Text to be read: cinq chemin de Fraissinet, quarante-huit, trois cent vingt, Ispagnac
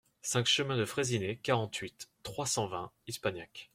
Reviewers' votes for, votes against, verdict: 2, 1, accepted